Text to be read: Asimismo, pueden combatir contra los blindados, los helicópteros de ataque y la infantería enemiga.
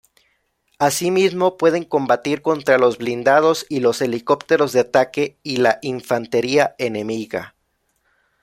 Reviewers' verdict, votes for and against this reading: rejected, 0, 2